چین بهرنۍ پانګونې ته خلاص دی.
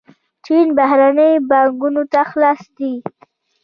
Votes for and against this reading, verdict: 1, 2, rejected